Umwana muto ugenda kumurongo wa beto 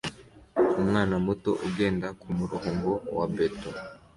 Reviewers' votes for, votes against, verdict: 2, 0, accepted